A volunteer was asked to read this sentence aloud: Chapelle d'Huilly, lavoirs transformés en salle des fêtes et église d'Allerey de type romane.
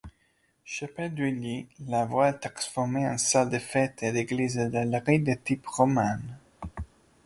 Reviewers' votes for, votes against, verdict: 1, 2, rejected